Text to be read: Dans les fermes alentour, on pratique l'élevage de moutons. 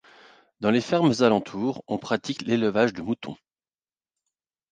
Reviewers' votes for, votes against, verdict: 2, 0, accepted